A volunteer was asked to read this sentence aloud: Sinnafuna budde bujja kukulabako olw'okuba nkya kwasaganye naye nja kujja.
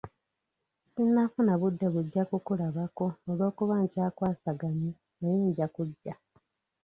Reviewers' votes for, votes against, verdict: 1, 2, rejected